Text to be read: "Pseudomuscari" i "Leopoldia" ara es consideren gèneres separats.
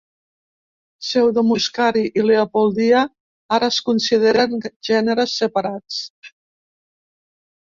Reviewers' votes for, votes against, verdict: 2, 0, accepted